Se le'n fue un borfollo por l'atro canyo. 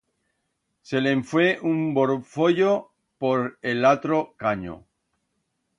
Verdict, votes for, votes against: rejected, 1, 2